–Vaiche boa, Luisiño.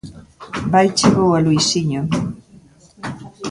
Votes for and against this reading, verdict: 3, 1, accepted